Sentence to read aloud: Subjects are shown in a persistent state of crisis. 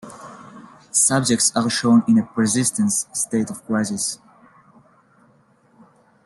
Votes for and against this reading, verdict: 0, 2, rejected